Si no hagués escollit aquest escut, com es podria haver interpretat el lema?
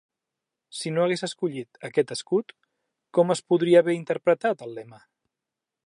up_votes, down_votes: 2, 0